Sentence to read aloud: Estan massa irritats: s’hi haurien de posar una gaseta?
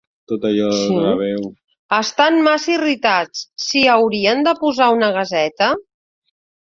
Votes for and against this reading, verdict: 1, 5, rejected